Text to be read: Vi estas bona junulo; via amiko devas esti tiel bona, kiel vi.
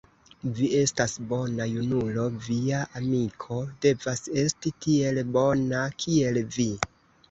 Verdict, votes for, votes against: accepted, 2, 0